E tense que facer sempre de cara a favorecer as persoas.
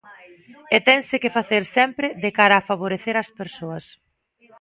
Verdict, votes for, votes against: rejected, 1, 2